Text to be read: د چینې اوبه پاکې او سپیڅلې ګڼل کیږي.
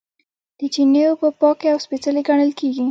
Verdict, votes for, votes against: rejected, 0, 2